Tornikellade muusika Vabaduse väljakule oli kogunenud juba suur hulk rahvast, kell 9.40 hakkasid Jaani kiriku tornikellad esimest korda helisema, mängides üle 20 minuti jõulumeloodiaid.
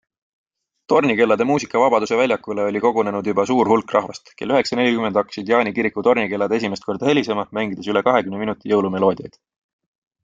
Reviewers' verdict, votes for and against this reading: rejected, 0, 2